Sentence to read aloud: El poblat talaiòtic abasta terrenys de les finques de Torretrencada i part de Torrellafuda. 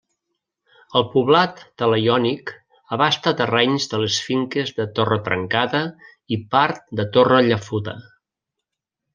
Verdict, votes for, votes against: rejected, 0, 2